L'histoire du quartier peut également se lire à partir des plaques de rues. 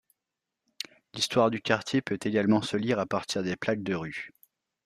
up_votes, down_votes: 2, 0